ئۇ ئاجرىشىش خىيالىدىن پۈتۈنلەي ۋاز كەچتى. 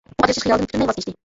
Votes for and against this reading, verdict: 0, 2, rejected